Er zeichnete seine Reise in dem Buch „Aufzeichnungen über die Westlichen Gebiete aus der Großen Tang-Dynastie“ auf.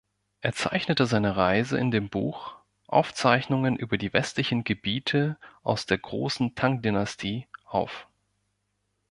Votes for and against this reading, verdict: 2, 0, accepted